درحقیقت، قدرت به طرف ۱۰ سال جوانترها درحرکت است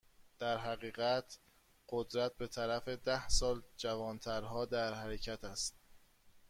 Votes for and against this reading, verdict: 0, 2, rejected